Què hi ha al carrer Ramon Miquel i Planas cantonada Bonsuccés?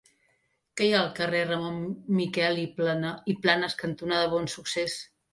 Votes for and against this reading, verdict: 1, 2, rejected